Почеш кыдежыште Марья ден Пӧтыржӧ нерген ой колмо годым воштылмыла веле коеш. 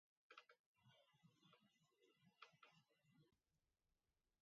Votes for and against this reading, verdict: 1, 2, rejected